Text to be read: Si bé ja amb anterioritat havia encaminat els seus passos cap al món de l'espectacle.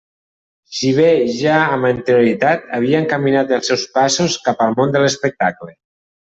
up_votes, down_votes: 1, 2